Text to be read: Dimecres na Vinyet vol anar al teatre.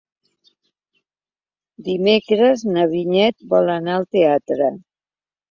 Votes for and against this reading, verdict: 2, 0, accepted